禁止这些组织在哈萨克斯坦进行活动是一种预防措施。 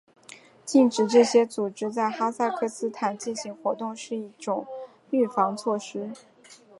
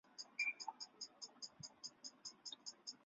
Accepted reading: first